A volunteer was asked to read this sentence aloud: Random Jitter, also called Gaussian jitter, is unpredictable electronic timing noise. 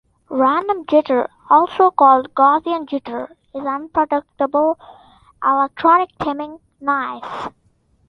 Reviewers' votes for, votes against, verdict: 0, 2, rejected